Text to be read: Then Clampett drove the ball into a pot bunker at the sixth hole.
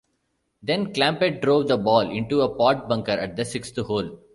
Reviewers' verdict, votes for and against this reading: rejected, 1, 2